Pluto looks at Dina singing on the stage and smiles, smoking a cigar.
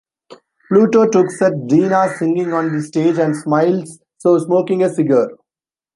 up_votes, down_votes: 2, 1